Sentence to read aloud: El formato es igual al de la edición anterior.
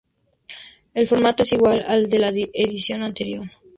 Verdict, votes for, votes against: rejected, 0, 2